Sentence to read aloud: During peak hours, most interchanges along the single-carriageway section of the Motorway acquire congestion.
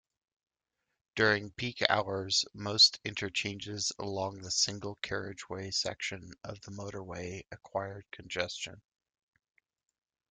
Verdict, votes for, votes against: accepted, 2, 0